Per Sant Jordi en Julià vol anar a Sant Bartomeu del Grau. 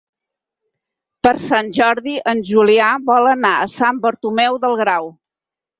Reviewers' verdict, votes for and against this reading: accepted, 6, 0